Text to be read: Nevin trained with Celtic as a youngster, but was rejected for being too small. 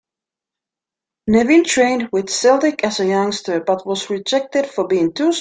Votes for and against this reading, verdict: 2, 1, accepted